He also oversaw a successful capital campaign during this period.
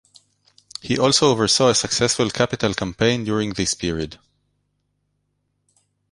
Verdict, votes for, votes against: accepted, 2, 0